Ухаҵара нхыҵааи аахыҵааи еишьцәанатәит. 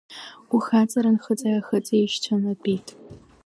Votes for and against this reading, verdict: 0, 2, rejected